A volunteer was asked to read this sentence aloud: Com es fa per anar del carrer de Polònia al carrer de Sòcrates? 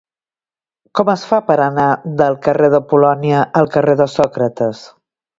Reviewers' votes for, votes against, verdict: 2, 0, accepted